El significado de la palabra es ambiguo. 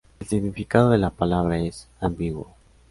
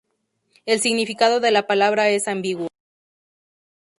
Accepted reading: first